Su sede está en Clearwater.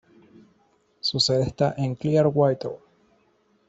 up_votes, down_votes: 0, 2